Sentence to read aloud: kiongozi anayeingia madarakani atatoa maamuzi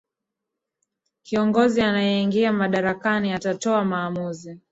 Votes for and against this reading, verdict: 0, 2, rejected